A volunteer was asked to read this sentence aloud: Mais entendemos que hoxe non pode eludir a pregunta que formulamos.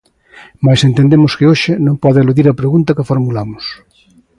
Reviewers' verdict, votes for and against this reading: accepted, 2, 1